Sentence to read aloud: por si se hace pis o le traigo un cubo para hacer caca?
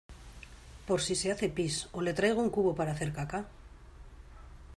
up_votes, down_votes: 2, 0